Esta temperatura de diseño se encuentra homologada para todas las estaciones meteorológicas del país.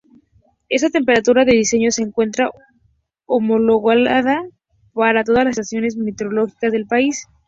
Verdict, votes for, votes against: rejected, 2, 2